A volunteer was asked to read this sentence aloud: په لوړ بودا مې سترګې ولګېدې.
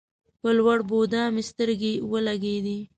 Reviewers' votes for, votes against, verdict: 2, 0, accepted